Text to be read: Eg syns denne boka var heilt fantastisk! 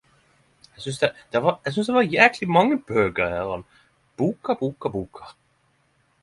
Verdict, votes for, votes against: rejected, 0, 10